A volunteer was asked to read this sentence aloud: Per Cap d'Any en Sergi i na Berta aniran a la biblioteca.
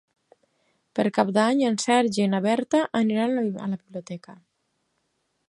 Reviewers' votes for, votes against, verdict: 0, 4, rejected